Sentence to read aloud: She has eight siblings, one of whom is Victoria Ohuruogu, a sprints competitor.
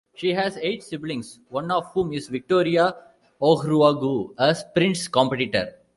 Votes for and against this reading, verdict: 2, 0, accepted